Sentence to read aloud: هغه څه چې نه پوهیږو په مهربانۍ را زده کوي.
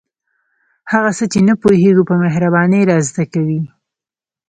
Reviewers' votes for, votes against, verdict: 1, 2, rejected